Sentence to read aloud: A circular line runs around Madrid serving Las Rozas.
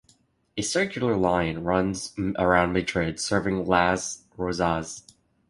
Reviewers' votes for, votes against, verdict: 0, 2, rejected